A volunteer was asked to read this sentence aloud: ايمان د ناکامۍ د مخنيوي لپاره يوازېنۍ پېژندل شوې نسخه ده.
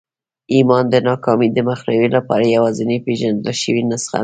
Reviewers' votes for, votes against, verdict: 2, 1, accepted